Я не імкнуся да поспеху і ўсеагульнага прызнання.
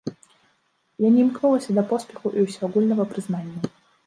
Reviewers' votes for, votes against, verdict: 2, 1, accepted